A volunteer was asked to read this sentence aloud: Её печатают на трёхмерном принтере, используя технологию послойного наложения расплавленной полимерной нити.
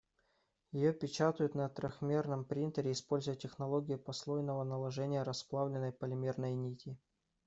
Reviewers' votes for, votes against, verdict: 2, 0, accepted